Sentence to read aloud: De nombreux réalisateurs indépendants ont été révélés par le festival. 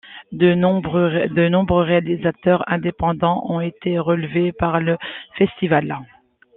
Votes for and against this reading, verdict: 0, 2, rejected